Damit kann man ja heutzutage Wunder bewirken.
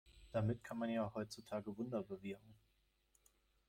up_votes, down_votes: 2, 0